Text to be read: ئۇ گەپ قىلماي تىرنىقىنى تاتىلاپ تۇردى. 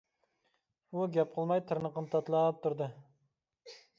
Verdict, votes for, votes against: accepted, 2, 1